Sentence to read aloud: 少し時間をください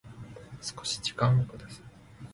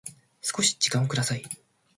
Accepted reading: second